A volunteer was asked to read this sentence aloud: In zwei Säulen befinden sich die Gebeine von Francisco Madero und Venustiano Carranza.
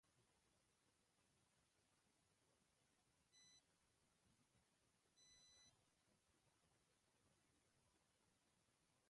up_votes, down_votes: 0, 2